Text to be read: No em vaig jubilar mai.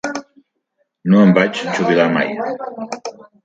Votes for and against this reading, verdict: 1, 2, rejected